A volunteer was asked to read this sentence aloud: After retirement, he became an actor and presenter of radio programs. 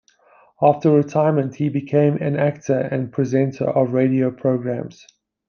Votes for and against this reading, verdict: 2, 0, accepted